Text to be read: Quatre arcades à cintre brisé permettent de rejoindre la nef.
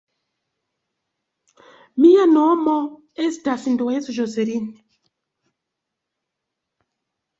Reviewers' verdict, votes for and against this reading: rejected, 0, 2